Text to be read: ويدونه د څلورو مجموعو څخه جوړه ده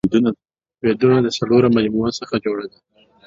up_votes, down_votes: 0, 2